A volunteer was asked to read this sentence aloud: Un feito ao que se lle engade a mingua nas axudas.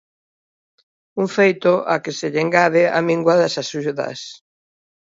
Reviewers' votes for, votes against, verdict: 0, 2, rejected